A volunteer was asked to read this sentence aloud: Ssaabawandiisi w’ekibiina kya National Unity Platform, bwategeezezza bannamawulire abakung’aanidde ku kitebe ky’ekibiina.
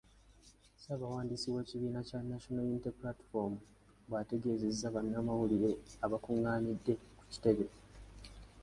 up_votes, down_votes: 2, 1